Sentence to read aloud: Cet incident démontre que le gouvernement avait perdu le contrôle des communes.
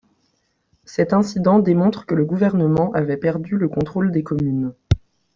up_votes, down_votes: 0, 2